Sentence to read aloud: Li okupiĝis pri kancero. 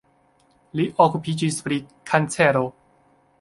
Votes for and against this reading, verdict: 3, 0, accepted